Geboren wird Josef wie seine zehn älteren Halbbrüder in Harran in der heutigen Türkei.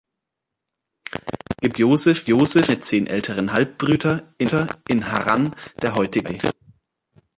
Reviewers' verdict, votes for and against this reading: rejected, 0, 2